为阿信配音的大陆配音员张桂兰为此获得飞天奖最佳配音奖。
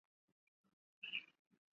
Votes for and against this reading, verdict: 0, 6, rejected